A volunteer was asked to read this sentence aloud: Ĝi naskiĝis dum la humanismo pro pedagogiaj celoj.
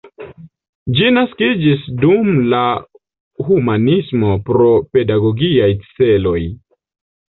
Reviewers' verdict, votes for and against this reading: accepted, 2, 1